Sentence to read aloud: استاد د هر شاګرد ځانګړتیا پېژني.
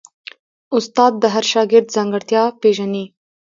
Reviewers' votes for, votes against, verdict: 2, 0, accepted